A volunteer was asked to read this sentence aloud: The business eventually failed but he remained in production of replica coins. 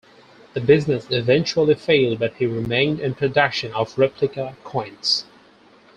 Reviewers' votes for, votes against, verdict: 4, 0, accepted